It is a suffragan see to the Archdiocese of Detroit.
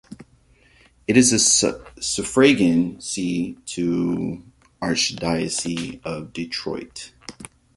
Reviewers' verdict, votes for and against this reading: rejected, 0, 2